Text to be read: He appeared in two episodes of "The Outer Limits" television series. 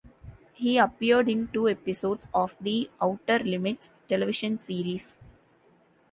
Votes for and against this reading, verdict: 2, 0, accepted